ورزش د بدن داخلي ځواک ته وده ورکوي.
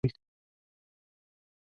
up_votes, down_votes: 0, 2